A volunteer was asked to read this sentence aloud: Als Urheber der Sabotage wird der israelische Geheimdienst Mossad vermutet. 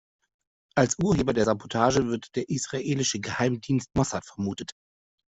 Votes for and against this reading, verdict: 2, 0, accepted